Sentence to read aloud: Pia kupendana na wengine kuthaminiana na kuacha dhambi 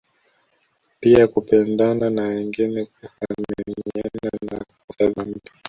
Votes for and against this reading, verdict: 0, 2, rejected